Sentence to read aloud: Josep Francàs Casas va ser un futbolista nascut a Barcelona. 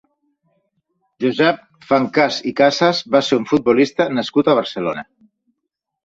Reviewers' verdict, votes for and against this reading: rejected, 1, 2